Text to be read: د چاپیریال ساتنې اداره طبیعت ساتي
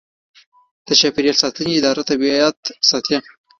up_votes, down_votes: 1, 2